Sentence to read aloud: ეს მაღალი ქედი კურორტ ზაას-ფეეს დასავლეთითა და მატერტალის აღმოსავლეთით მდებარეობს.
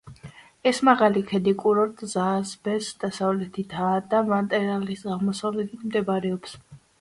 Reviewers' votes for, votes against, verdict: 2, 0, accepted